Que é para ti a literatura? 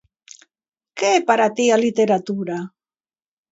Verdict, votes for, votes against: accepted, 2, 0